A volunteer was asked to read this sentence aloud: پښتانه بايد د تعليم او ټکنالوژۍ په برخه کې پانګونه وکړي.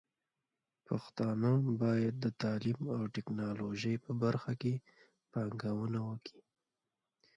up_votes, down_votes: 0, 2